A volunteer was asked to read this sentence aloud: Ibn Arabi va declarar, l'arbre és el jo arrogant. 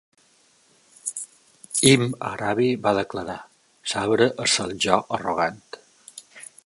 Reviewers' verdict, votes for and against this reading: rejected, 0, 2